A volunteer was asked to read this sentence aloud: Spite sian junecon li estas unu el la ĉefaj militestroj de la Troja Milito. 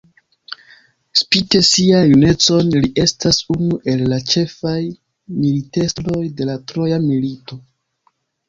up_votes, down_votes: 0, 3